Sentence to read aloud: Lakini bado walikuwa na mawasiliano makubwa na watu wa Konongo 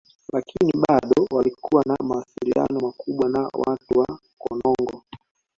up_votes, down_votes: 0, 2